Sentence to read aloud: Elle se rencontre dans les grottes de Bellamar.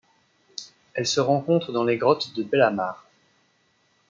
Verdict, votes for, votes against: accepted, 2, 0